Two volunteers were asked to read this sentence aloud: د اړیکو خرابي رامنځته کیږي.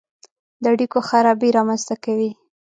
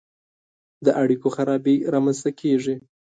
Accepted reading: second